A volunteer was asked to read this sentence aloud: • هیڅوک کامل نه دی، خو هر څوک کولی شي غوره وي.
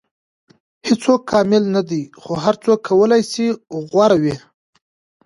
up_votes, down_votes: 2, 1